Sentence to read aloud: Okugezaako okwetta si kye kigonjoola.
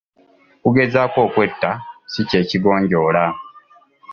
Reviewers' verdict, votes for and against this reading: accepted, 2, 0